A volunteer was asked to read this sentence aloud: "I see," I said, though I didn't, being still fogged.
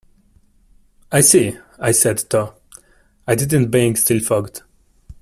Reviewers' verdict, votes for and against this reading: rejected, 1, 2